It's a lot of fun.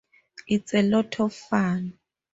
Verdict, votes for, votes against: accepted, 4, 0